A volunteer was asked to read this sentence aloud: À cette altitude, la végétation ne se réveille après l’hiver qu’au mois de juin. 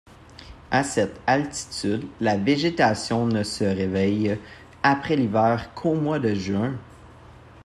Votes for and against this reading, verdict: 2, 0, accepted